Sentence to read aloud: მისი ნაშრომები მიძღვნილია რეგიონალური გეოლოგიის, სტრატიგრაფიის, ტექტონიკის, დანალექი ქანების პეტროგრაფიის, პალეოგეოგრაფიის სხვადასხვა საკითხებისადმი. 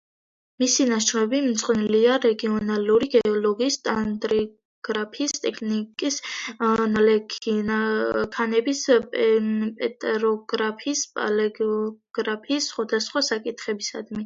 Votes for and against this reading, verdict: 0, 2, rejected